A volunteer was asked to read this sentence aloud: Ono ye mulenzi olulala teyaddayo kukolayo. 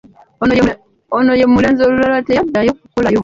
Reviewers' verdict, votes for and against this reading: rejected, 0, 2